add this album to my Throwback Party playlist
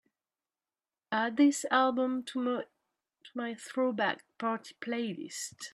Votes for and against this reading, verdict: 1, 2, rejected